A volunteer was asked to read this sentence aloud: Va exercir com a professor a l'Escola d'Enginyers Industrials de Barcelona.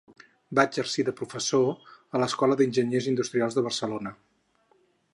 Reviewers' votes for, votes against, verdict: 2, 4, rejected